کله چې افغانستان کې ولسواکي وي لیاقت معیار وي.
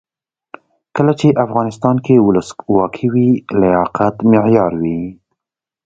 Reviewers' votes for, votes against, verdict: 2, 0, accepted